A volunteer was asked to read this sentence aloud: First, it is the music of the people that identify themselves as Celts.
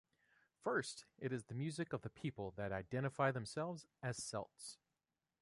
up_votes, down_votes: 2, 0